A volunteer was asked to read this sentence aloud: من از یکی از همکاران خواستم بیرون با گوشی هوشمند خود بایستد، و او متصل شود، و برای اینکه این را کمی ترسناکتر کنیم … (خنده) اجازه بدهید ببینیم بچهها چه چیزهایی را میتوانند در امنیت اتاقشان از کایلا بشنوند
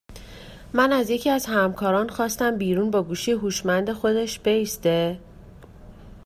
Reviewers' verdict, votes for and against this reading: rejected, 1, 2